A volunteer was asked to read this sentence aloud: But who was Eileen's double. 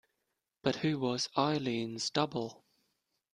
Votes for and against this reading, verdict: 2, 0, accepted